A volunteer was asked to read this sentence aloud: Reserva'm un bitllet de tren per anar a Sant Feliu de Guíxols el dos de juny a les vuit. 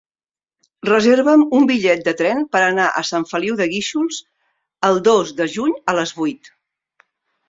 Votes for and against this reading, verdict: 3, 0, accepted